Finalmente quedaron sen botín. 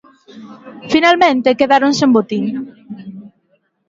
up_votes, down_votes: 2, 0